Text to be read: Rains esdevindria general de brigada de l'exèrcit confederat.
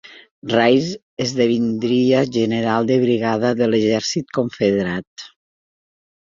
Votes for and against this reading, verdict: 2, 1, accepted